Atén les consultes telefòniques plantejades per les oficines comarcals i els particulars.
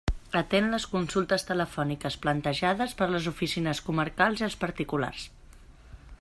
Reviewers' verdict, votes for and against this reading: accepted, 2, 0